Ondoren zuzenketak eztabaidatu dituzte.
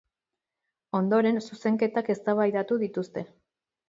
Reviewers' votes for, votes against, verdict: 2, 0, accepted